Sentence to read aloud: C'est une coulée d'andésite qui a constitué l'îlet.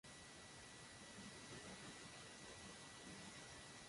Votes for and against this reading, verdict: 0, 2, rejected